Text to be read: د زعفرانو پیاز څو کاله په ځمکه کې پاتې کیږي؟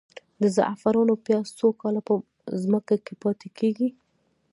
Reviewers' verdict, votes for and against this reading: accepted, 2, 1